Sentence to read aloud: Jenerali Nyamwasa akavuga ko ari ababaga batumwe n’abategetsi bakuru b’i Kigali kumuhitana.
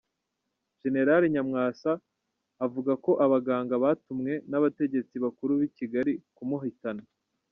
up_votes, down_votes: 1, 2